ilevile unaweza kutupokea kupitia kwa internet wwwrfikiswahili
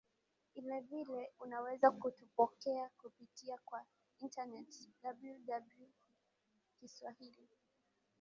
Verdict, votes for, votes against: rejected, 0, 2